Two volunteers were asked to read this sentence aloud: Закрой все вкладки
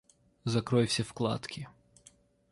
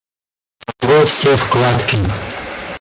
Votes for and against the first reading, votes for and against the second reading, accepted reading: 2, 1, 0, 2, first